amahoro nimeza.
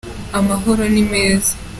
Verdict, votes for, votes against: accepted, 3, 1